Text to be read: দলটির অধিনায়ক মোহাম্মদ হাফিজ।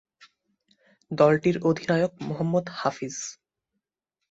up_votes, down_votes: 2, 0